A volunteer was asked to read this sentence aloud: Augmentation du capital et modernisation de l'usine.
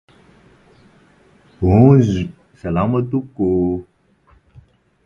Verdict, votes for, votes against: rejected, 0, 4